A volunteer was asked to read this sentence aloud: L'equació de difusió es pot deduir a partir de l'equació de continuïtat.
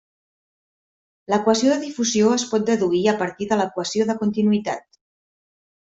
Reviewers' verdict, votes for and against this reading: accepted, 3, 1